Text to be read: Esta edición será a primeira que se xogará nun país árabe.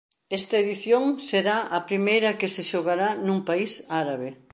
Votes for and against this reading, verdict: 3, 0, accepted